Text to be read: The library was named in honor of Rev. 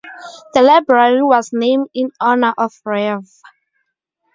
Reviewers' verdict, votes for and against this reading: accepted, 2, 0